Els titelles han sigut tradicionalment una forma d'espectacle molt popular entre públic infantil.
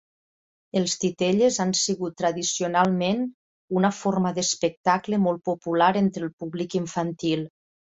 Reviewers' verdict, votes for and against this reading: rejected, 0, 2